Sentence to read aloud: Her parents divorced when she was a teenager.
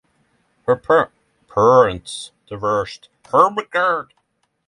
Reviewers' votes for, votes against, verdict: 0, 6, rejected